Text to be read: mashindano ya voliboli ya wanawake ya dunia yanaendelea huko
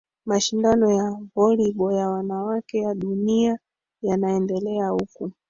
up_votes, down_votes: 1, 2